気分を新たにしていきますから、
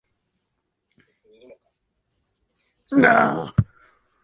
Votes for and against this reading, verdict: 1, 2, rejected